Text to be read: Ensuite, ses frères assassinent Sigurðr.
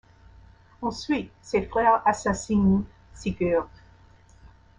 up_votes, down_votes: 1, 2